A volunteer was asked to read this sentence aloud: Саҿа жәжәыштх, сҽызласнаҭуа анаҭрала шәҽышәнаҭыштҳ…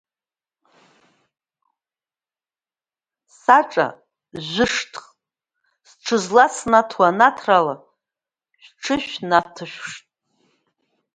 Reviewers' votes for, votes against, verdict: 1, 2, rejected